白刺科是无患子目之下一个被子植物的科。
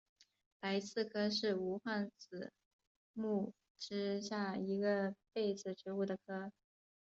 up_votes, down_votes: 2, 3